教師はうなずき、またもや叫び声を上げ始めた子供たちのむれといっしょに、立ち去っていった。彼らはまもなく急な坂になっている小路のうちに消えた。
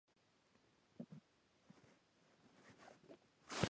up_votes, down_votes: 0, 5